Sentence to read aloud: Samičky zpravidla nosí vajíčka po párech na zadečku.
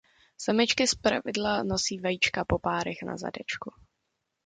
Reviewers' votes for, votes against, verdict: 2, 0, accepted